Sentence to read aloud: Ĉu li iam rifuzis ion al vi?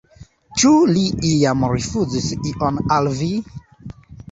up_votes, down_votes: 0, 2